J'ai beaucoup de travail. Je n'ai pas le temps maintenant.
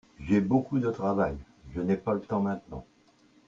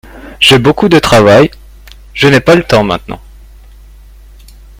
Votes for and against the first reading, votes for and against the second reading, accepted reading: 1, 2, 2, 0, second